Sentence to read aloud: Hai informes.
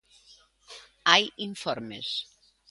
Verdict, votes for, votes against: accepted, 2, 0